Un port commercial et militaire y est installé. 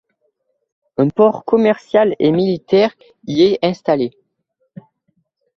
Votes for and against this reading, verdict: 2, 0, accepted